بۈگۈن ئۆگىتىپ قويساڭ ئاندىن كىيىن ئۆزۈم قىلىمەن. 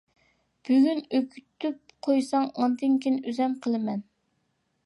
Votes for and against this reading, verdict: 0, 2, rejected